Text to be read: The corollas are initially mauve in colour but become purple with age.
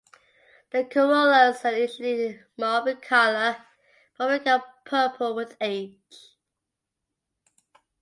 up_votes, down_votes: 1, 2